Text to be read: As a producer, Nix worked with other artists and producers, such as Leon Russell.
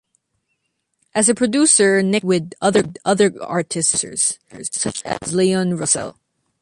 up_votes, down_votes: 0, 2